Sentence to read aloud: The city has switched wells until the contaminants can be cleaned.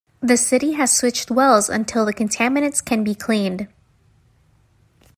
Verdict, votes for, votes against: accepted, 2, 0